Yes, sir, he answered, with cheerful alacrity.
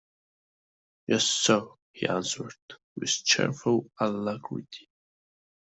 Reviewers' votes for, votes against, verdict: 2, 0, accepted